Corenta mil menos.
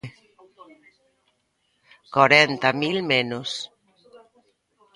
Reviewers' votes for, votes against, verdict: 1, 2, rejected